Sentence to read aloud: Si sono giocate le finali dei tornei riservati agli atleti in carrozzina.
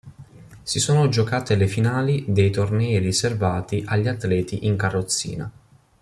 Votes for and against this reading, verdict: 2, 0, accepted